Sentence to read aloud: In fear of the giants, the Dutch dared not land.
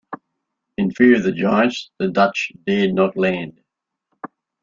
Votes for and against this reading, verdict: 2, 0, accepted